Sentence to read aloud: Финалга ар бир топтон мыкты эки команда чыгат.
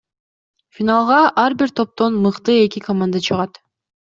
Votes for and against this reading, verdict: 2, 0, accepted